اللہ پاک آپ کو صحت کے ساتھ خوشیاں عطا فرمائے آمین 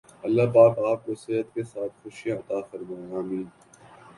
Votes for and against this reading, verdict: 3, 1, accepted